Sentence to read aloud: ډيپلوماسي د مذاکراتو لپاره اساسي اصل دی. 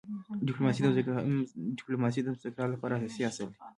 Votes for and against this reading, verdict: 2, 1, accepted